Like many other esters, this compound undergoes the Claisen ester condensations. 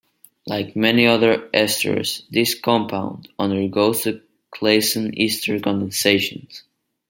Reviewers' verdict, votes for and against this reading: rejected, 1, 2